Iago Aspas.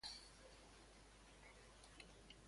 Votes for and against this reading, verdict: 0, 2, rejected